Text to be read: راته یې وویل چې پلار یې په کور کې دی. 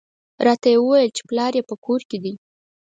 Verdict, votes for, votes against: accepted, 4, 0